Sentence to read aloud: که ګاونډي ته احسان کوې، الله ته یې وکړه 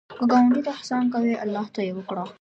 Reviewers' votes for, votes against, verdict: 2, 1, accepted